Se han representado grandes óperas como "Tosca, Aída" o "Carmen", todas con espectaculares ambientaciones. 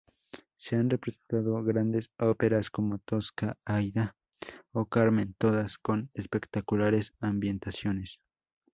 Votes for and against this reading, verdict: 0, 2, rejected